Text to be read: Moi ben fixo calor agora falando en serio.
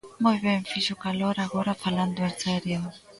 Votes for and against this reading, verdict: 0, 2, rejected